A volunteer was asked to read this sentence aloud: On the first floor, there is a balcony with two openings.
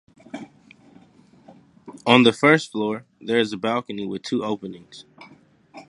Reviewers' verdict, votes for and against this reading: accepted, 2, 0